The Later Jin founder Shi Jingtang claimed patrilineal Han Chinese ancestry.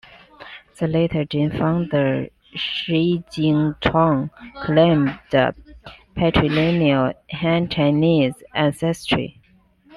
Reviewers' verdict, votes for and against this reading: accepted, 2, 0